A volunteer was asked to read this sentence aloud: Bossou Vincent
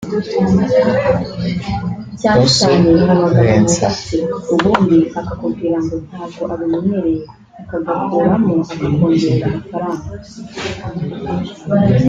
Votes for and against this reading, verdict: 0, 2, rejected